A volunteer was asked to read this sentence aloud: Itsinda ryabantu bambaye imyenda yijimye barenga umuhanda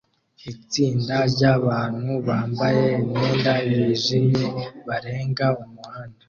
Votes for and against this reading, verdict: 2, 0, accepted